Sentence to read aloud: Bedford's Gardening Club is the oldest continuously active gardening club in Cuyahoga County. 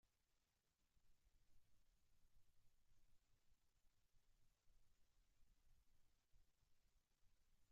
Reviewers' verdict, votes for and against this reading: rejected, 0, 2